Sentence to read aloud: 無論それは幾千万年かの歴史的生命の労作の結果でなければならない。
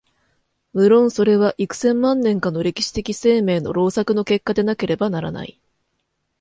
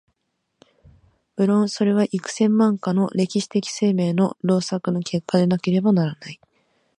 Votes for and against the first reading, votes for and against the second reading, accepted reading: 2, 0, 1, 2, first